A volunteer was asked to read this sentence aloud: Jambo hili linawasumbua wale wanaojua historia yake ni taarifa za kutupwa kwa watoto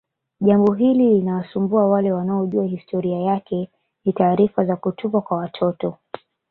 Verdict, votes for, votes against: accepted, 2, 0